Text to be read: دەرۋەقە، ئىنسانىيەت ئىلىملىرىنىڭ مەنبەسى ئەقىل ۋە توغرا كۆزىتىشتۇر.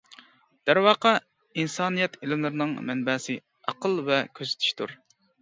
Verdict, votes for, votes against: rejected, 0, 2